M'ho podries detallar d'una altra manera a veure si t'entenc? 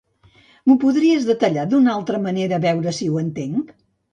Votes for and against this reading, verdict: 1, 2, rejected